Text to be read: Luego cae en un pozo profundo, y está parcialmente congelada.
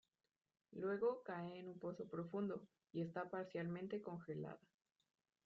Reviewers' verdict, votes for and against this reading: accepted, 2, 1